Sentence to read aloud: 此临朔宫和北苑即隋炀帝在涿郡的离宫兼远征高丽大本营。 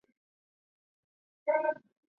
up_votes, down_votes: 1, 2